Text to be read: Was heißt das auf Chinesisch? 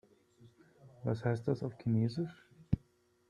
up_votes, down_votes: 2, 3